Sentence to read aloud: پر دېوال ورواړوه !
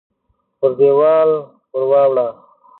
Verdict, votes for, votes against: rejected, 1, 2